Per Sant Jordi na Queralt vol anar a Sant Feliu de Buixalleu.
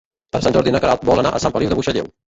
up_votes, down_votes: 0, 2